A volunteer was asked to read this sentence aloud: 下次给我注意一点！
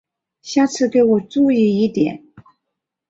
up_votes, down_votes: 2, 0